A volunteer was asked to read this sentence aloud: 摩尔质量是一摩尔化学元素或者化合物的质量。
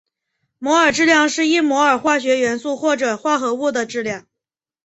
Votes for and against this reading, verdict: 1, 2, rejected